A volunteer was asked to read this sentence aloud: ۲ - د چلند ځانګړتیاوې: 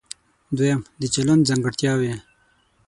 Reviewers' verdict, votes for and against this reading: rejected, 0, 2